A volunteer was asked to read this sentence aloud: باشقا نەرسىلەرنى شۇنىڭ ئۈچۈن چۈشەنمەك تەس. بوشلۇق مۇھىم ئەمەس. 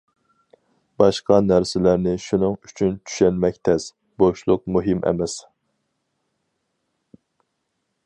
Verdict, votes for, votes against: accepted, 4, 0